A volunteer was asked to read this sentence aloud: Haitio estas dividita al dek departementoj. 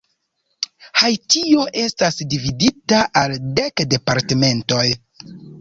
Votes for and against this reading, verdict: 1, 2, rejected